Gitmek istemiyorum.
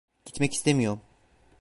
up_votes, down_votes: 0, 2